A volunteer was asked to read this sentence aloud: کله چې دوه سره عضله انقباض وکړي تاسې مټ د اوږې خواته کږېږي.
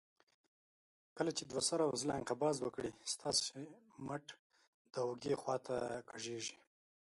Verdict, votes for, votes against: rejected, 1, 2